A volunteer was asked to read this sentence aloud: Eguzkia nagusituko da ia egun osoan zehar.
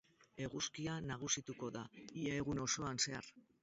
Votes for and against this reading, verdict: 0, 2, rejected